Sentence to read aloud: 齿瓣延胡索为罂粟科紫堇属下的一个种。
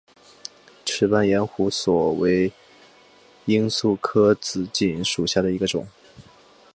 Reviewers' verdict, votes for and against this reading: accepted, 9, 0